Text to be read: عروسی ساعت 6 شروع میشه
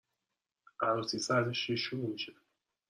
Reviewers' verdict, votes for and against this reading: rejected, 0, 2